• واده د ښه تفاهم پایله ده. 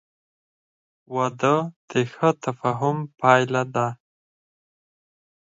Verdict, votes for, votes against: accepted, 4, 2